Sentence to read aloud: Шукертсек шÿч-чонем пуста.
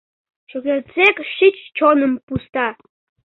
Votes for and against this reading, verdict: 1, 2, rejected